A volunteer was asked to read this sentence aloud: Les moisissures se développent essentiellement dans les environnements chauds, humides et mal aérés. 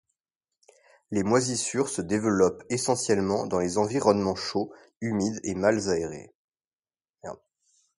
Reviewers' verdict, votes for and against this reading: rejected, 0, 2